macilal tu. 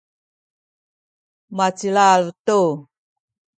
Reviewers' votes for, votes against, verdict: 2, 0, accepted